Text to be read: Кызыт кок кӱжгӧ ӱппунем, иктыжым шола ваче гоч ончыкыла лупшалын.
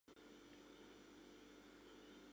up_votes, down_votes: 0, 6